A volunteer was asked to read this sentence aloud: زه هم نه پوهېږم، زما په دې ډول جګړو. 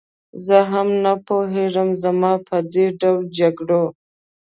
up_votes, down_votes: 2, 0